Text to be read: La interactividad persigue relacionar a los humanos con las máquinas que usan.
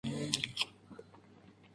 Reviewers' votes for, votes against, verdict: 0, 2, rejected